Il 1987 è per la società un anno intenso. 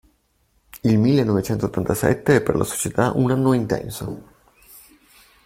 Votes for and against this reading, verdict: 0, 2, rejected